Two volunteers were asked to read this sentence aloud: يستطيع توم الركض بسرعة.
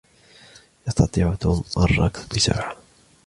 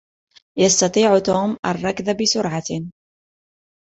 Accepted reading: second